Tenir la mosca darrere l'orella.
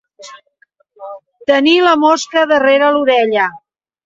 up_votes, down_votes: 2, 0